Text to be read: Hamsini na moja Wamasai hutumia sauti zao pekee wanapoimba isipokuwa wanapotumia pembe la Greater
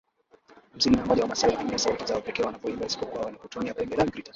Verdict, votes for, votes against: rejected, 0, 2